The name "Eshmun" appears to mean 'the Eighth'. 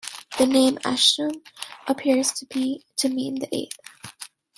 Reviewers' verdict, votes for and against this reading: rejected, 1, 2